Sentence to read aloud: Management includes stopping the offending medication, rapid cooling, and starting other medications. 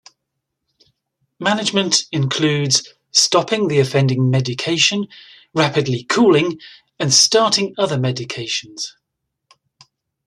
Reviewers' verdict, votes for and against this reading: rejected, 1, 2